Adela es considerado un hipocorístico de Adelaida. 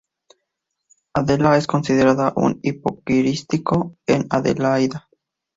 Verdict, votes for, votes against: rejected, 0, 2